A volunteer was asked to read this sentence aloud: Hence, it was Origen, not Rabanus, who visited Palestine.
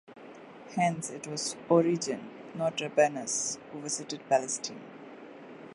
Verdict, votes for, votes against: accepted, 2, 0